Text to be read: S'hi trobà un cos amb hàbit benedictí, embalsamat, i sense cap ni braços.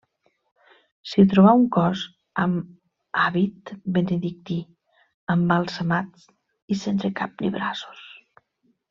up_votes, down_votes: 1, 2